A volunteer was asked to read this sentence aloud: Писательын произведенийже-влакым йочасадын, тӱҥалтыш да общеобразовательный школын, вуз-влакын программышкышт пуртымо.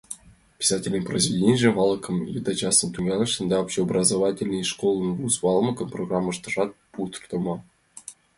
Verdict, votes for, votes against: rejected, 0, 2